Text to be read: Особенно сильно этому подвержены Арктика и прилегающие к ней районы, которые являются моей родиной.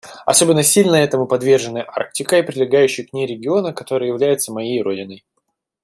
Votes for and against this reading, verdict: 1, 2, rejected